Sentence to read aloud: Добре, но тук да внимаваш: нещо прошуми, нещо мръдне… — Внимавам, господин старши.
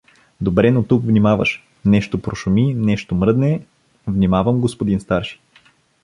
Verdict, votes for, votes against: rejected, 1, 2